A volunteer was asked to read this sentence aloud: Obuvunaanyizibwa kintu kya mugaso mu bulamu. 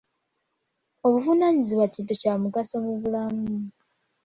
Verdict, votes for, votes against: accepted, 2, 0